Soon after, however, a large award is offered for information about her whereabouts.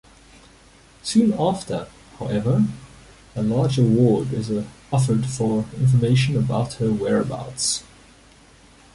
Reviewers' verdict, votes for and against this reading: rejected, 1, 2